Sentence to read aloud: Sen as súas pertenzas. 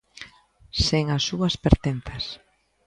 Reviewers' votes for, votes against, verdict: 2, 0, accepted